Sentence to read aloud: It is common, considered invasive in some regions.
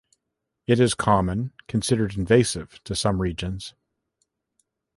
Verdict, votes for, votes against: rejected, 0, 2